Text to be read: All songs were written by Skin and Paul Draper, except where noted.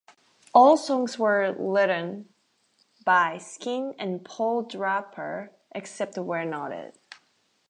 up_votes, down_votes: 0, 2